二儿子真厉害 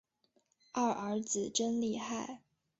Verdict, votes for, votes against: accepted, 4, 0